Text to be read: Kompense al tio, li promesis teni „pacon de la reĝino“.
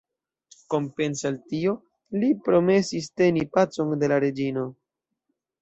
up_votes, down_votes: 2, 0